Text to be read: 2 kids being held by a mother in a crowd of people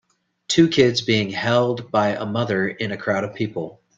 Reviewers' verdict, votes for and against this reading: rejected, 0, 2